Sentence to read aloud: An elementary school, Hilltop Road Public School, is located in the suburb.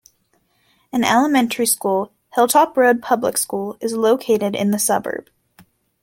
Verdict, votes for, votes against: accepted, 2, 0